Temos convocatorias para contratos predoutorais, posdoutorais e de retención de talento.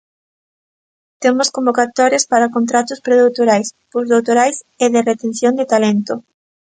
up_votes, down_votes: 2, 0